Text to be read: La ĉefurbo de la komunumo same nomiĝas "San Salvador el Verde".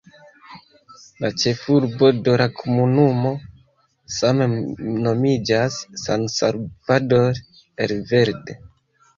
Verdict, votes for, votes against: rejected, 0, 2